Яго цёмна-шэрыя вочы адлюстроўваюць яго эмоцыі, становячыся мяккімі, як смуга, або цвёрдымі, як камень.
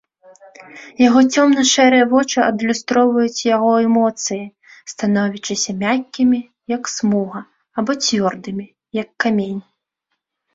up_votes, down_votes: 1, 2